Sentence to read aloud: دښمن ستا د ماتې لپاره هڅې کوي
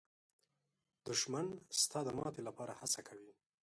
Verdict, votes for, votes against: rejected, 1, 2